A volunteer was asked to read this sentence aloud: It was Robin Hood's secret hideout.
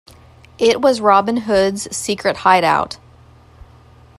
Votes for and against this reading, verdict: 2, 0, accepted